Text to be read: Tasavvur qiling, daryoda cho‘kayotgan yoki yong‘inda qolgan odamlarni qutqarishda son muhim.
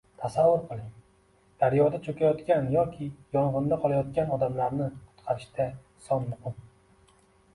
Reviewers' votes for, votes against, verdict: 2, 0, accepted